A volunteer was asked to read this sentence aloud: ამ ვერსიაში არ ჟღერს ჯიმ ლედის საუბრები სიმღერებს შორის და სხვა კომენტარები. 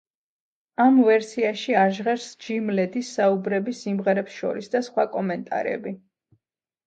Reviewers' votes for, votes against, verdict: 0, 2, rejected